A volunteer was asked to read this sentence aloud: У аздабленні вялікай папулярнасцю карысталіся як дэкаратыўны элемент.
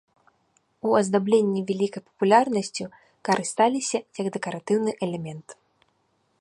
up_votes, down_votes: 2, 0